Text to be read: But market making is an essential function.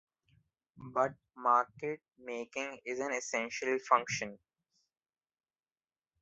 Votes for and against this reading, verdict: 1, 2, rejected